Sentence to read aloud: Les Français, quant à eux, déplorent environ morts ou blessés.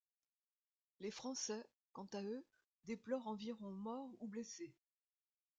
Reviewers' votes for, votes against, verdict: 2, 0, accepted